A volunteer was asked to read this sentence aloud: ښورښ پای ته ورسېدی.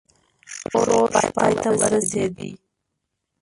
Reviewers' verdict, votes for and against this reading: rejected, 0, 3